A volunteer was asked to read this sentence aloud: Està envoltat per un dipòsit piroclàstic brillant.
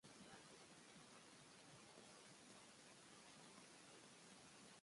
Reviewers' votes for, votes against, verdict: 0, 2, rejected